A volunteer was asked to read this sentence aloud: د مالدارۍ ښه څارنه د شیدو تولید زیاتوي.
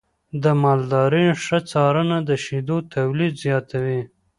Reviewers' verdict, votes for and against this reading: accepted, 2, 0